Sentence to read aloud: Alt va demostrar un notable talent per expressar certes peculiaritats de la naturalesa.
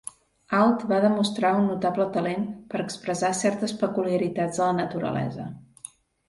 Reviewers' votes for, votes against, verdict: 2, 0, accepted